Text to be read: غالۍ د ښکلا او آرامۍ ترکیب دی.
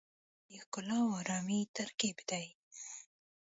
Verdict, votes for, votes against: rejected, 1, 2